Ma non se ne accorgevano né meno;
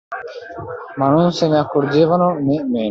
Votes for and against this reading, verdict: 0, 2, rejected